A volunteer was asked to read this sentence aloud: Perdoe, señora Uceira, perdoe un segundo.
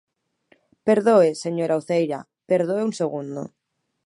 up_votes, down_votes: 2, 0